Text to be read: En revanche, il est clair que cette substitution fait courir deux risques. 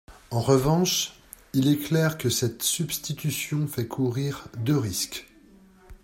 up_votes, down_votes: 2, 0